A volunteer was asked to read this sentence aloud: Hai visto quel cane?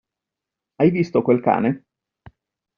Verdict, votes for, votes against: accepted, 2, 0